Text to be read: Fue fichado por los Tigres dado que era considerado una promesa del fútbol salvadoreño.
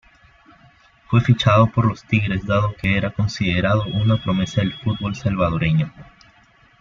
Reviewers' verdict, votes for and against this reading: accepted, 2, 0